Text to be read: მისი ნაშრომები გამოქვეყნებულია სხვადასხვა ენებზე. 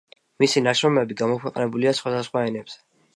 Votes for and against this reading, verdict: 2, 0, accepted